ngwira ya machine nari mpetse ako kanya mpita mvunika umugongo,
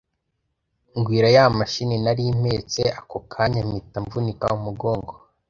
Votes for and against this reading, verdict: 2, 0, accepted